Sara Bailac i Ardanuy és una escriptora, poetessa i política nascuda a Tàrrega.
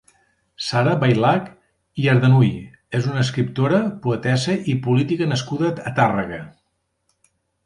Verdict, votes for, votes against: accepted, 2, 0